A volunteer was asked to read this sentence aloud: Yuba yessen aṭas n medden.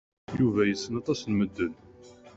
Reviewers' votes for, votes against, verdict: 2, 0, accepted